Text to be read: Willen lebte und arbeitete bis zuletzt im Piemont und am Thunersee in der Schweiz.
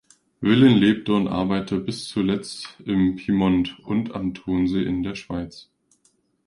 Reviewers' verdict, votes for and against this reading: rejected, 0, 2